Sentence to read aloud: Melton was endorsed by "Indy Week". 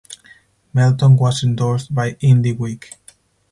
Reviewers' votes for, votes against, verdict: 4, 2, accepted